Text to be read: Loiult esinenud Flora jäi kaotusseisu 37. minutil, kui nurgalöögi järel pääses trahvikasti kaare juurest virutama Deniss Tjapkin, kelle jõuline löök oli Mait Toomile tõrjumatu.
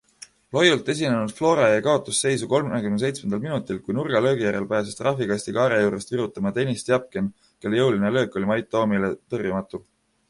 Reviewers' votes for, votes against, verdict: 0, 2, rejected